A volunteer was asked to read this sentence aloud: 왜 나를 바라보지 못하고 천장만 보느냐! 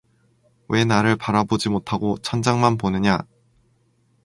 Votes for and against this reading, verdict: 4, 0, accepted